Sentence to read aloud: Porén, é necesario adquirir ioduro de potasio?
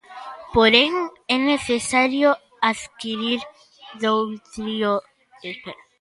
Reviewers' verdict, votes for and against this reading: rejected, 0, 2